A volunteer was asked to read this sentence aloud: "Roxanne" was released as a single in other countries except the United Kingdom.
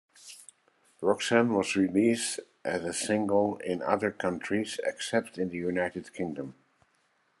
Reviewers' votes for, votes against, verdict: 2, 0, accepted